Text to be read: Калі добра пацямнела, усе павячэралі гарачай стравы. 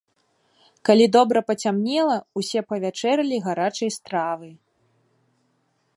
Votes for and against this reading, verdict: 2, 0, accepted